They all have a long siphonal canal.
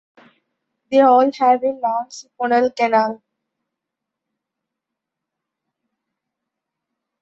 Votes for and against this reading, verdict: 0, 2, rejected